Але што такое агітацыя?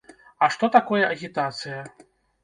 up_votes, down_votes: 0, 2